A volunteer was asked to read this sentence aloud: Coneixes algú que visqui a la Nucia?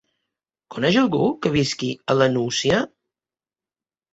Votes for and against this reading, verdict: 0, 2, rejected